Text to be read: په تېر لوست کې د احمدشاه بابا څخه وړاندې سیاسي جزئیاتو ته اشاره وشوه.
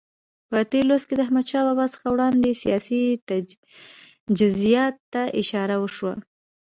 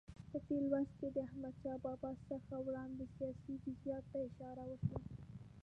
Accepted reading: second